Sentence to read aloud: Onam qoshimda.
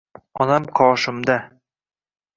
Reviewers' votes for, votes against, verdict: 2, 1, accepted